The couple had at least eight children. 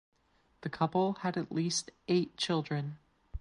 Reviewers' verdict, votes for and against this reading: accepted, 2, 0